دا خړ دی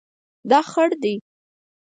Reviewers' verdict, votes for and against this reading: accepted, 4, 0